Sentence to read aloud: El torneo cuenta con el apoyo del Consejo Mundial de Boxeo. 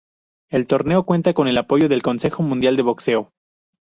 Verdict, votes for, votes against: rejected, 2, 2